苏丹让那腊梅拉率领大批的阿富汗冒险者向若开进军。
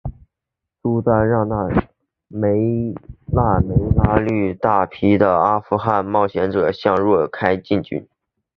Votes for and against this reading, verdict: 7, 1, accepted